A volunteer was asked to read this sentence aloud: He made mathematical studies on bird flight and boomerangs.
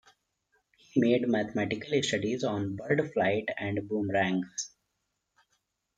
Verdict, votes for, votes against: accepted, 2, 1